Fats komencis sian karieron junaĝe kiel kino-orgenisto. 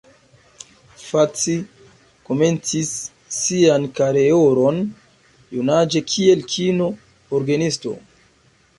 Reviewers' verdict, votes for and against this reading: rejected, 1, 2